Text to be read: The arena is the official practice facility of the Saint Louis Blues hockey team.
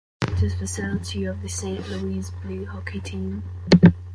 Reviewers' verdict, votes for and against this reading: rejected, 1, 2